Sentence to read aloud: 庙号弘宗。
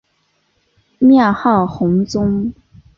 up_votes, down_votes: 4, 0